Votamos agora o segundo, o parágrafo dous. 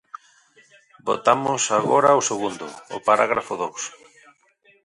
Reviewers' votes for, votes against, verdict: 1, 3, rejected